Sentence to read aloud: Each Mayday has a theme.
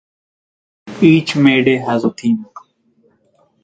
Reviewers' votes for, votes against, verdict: 4, 0, accepted